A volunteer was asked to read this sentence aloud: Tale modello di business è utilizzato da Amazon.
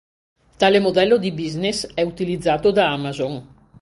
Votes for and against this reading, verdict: 2, 0, accepted